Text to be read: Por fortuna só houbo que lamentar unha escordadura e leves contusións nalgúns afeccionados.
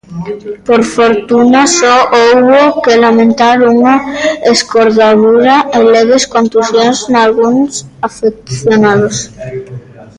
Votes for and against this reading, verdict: 2, 0, accepted